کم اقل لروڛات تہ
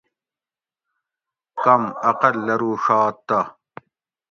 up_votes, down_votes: 2, 0